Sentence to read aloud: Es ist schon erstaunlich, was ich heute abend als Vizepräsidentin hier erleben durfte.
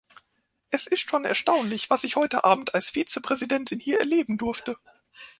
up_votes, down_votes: 2, 0